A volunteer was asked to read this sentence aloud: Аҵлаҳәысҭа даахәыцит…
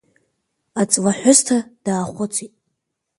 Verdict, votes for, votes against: accepted, 3, 0